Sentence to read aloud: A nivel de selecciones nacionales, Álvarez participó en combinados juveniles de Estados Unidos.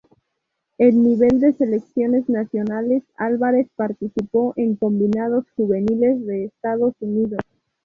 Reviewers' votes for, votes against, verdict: 0, 2, rejected